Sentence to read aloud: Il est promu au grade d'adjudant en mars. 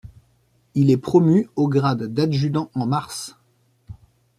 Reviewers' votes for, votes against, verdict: 2, 0, accepted